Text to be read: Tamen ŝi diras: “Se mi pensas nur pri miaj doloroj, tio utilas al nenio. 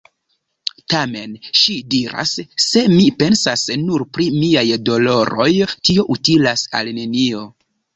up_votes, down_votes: 1, 2